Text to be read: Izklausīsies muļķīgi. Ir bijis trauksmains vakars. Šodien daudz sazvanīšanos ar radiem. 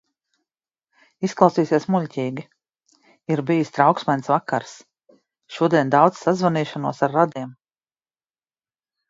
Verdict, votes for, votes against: accepted, 2, 0